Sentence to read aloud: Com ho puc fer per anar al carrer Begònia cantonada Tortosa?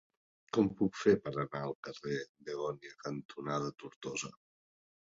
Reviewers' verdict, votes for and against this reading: rejected, 2, 3